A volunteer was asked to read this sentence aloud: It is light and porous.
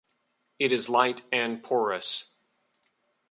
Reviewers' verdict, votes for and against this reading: accepted, 2, 0